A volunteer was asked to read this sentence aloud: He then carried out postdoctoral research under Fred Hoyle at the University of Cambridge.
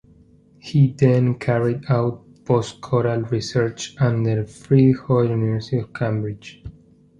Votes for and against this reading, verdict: 1, 2, rejected